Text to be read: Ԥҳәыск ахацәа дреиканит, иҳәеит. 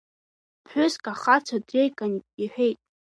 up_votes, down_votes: 1, 2